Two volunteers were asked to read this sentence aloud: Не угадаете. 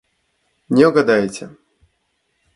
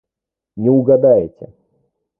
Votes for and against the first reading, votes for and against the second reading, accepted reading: 2, 0, 1, 2, first